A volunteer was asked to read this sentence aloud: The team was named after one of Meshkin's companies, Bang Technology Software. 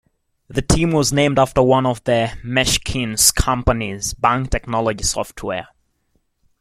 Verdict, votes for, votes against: rejected, 1, 2